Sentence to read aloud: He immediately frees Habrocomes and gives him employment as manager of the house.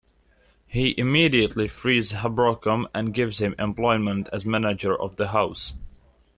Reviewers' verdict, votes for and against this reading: rejected, 1, 2